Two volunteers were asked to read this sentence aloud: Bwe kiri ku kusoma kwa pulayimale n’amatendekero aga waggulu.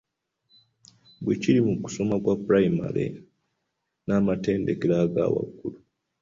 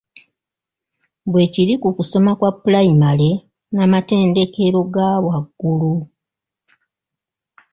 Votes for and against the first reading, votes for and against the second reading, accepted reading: 2, 1, 0, 2, first